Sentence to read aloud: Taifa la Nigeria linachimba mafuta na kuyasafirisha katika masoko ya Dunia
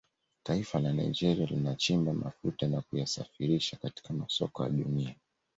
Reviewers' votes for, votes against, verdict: 2, 0, accepted